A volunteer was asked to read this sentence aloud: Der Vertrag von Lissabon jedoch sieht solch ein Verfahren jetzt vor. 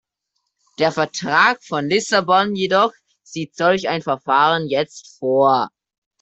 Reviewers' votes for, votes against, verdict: 2, 0, accepted